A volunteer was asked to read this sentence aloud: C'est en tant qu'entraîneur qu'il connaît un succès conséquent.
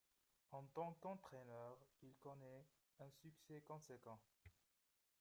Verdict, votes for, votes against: rejected, 0, 2